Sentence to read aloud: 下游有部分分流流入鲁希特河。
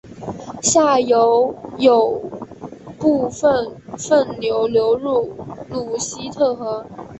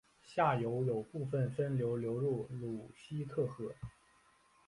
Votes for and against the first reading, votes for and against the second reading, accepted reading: 0, 2, 2, 1, second